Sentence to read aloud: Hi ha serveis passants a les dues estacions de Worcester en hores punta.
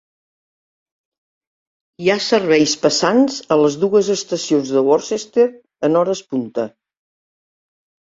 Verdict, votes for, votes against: accepted, 5, 0